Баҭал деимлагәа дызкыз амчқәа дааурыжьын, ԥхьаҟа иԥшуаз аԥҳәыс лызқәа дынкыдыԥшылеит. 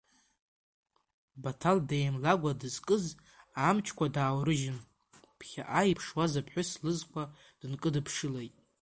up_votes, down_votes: 2, 1